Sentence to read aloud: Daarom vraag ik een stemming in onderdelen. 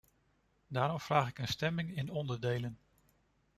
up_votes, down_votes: 2, 0